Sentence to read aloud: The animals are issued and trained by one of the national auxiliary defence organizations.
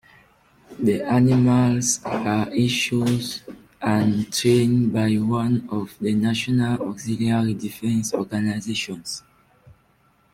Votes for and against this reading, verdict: 2, 1, accepted